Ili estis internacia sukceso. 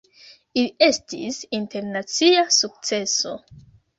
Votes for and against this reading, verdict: 0, 2, rejected